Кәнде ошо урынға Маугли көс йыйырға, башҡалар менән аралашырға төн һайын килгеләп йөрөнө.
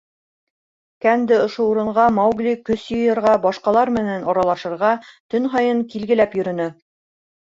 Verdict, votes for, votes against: rejected, 1, 2